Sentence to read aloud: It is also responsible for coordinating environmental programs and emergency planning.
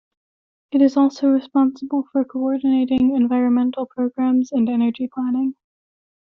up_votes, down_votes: 0, 2